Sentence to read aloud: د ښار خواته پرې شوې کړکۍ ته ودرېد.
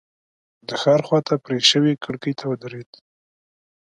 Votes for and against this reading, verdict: 2, 0, accepted